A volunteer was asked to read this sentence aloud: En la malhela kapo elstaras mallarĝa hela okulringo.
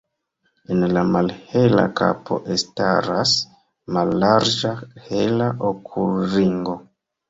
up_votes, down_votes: 2, 0